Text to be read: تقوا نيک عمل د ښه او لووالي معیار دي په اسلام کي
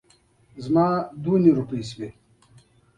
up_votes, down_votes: 3, 2